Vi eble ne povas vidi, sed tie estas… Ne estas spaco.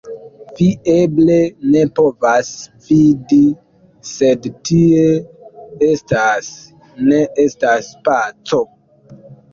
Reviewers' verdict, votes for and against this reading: rejected, 0, 2